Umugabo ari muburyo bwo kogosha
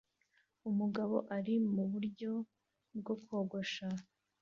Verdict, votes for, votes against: accepted, 2, 0